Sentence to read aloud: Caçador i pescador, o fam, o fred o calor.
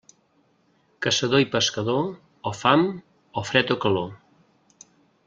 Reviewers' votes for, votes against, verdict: 3, 0, accepted